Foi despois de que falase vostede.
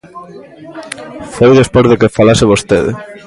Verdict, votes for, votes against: accepted, 2, 0